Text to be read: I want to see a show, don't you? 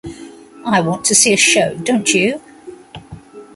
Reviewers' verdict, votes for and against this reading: accepted, 2, 0